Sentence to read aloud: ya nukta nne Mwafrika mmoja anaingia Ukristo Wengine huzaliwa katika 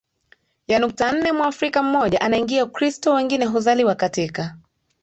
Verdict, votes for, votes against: rejected, 1, 2